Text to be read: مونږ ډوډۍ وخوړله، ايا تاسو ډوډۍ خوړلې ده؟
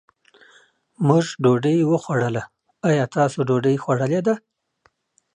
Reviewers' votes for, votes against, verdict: 2, 0, accepted